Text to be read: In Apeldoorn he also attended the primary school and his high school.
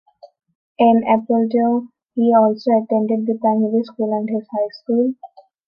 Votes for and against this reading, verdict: 2, 1, accepted